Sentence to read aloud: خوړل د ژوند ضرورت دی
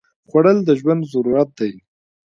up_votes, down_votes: 2, 1